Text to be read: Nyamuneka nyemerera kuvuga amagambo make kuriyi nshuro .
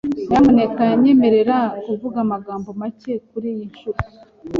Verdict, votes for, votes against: accepted, 2, 0